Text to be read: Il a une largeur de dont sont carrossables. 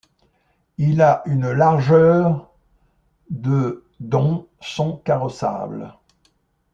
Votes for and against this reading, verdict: 2, 0, accepted